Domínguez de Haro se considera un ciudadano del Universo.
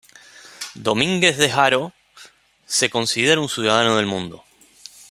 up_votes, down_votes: 0, 2